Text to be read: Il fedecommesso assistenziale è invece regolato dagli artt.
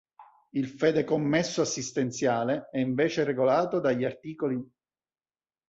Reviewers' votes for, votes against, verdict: 2, 3, rejected